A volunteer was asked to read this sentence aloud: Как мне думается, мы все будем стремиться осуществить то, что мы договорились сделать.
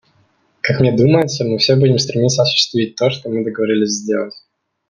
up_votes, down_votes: 2, 0